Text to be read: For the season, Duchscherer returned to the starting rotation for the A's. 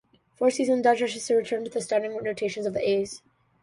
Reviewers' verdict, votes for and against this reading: rejected, 0, 2